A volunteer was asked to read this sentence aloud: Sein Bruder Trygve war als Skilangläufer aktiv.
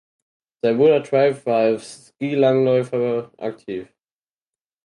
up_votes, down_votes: 2, 4